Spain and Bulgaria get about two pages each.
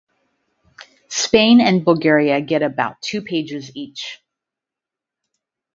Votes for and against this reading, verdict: 4, 0, accepted